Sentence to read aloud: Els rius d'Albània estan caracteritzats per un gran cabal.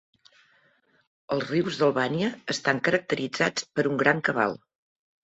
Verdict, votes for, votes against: accepted, 4, 0